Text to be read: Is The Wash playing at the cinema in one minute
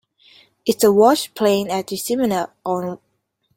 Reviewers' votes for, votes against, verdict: 0, 2, rejected